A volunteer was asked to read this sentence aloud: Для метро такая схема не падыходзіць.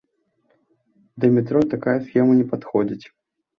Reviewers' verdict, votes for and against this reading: rejected, 1, 2